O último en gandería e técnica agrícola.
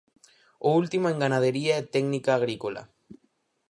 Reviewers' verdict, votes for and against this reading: rejected, 0, 4